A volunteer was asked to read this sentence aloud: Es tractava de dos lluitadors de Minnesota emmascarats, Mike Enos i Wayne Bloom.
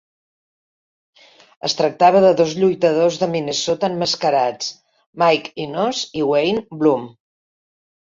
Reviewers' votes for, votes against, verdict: 2, 0, accepted